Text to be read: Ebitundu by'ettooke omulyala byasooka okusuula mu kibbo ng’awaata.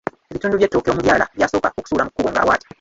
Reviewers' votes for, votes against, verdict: 0, 2, rejected